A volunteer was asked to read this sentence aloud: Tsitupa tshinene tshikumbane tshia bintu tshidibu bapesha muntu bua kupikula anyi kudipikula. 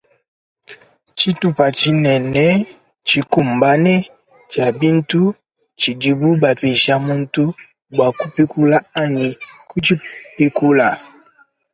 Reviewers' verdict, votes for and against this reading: rejected, 1, 2